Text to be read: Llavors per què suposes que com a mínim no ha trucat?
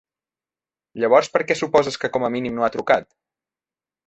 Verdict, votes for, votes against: accepted, 3, 0